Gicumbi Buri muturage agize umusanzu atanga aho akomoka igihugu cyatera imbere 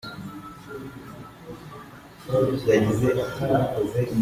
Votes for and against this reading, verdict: 0, 2, rejected